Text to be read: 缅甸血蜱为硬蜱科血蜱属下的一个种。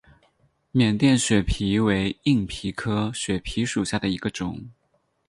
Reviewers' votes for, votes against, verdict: 8, 0, accepted